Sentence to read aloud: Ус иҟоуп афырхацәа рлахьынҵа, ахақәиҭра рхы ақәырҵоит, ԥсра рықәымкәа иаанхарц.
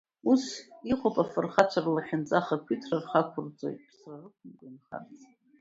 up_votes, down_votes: 2, 1